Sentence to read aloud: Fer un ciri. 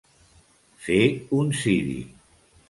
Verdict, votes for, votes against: accepted, 3, 0